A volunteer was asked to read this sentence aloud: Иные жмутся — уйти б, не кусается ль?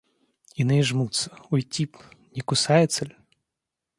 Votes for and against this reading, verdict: 2, 0, accepted